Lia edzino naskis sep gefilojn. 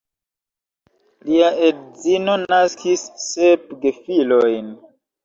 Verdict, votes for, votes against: rejected, 1, 2